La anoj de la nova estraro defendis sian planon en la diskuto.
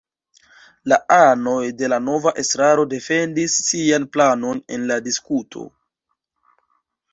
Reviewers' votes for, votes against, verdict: 2, 0, accepted